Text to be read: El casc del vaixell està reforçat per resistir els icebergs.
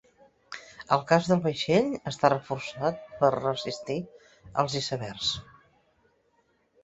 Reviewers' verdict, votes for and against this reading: accepted, 2, 0